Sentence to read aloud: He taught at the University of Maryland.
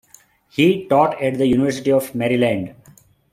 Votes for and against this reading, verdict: 2, 0, accepted